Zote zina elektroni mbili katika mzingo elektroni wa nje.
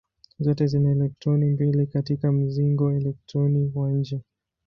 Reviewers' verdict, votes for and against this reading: rejected, 2, 2